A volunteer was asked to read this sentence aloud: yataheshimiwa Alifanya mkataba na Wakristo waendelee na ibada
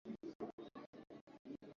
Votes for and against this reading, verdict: 0, 2, rejected